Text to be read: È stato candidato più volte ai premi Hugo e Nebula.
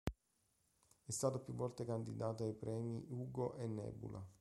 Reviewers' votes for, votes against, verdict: 0, 2, rejected